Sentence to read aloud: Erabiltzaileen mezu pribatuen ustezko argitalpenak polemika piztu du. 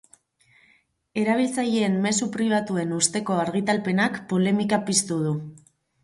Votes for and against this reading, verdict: 0, 2, rejected